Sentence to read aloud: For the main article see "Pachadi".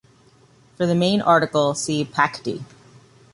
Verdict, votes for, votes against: rejected, 1, 2